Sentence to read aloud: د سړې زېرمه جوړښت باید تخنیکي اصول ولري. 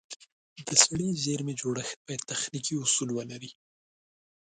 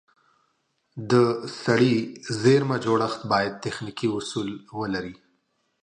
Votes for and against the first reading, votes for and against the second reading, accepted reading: 1, 2, 2, 0, second